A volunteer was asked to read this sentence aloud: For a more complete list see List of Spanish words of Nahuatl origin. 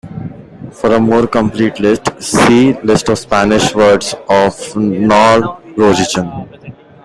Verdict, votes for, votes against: rejected, 0, 2